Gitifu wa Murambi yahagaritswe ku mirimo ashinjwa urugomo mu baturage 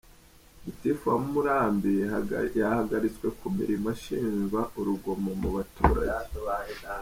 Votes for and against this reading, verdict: 0, 2, rejected